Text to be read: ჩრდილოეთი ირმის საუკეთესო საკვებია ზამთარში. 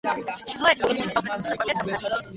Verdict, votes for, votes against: rejected, 1, 2